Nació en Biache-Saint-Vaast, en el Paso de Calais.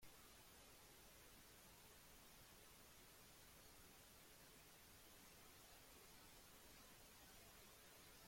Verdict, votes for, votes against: rejected, 0, 2